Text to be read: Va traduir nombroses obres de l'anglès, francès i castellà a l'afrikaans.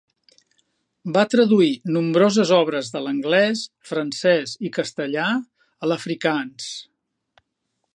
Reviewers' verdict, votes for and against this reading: accepted, 2, 0